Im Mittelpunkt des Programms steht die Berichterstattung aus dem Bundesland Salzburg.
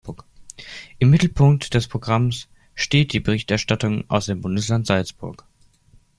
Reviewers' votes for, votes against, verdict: 2, 0, accepted